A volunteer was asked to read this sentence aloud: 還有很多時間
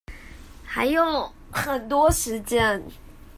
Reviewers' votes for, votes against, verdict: 2, 1, accepted